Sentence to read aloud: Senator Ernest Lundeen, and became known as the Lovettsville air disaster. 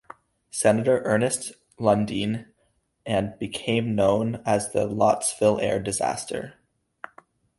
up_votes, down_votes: 0, 2